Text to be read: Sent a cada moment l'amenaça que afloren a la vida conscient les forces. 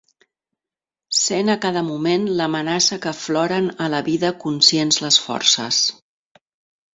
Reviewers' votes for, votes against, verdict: 0, 2, rejected